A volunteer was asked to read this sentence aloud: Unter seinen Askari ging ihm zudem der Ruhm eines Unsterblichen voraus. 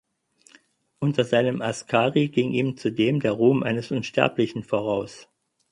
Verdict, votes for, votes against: accepted, 4, 0